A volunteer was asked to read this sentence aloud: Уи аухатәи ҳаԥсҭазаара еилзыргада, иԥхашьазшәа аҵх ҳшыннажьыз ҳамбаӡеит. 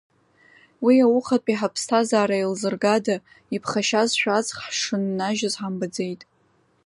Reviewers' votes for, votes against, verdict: 2, 0, accepted